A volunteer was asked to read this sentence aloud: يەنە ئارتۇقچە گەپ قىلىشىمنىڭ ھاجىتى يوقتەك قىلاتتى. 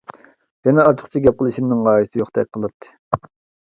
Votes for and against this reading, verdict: 2, 1, accepted